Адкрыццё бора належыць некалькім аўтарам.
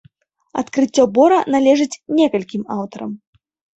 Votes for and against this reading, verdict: 3, 0, accepted